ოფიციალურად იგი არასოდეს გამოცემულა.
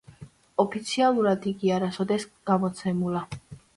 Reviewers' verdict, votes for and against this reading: accepted, 3, 0